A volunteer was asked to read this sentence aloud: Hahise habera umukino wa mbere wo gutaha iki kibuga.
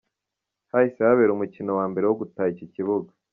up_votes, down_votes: 2, 0